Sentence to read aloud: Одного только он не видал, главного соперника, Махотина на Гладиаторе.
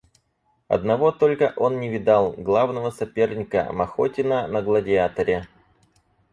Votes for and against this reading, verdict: 4, 0, accepted